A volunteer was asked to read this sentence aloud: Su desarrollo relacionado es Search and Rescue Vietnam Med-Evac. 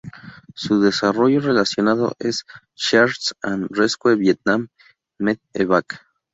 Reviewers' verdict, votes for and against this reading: rejected, 0, 2